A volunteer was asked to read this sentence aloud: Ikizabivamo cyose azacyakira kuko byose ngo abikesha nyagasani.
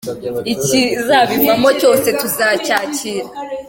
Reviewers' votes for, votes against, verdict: 1, 2, rejected